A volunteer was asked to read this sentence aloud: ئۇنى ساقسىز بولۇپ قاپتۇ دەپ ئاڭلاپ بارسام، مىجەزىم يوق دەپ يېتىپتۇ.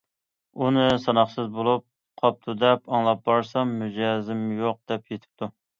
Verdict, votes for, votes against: rejected, 0, 2